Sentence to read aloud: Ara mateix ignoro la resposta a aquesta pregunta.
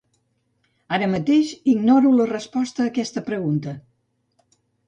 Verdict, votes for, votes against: accepted, 2, 0